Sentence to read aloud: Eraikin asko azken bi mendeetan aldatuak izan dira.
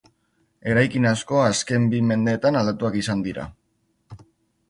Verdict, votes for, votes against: accepted, 2, 0